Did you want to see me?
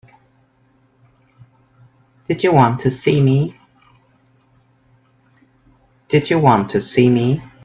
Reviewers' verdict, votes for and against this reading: rejected, 1, 2